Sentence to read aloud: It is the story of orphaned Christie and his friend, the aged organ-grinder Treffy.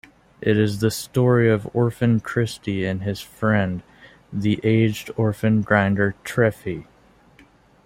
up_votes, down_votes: 2, 1